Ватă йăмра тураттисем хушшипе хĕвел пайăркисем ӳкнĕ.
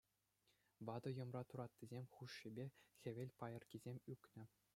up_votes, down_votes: 2, 0